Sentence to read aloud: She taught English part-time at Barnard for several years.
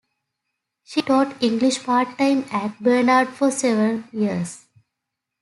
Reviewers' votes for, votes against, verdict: 2, 0, accepted